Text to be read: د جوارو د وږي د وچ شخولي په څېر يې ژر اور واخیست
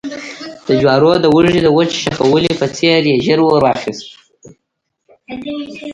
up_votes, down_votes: 1, 2